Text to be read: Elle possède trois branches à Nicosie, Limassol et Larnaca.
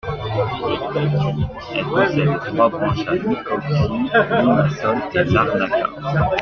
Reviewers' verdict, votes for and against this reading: rejected, 0, 2